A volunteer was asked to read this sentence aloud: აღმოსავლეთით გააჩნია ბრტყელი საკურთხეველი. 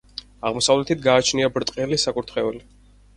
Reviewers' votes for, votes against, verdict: 4, 0, accepted